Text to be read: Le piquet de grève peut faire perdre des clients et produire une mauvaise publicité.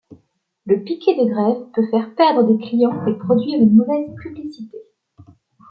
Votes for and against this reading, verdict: 2, 0, accepted